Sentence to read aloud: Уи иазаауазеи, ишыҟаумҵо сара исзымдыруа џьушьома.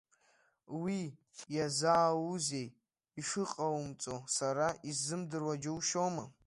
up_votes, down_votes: 1, 2